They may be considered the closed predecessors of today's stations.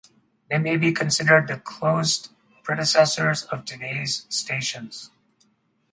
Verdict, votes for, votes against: accepted, 4, 0